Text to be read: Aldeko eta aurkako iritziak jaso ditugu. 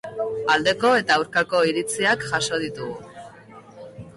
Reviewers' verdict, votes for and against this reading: accepted, 2, 1